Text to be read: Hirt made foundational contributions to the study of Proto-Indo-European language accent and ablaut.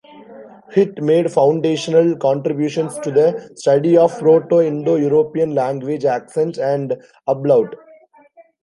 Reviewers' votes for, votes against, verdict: 2, 1, accepted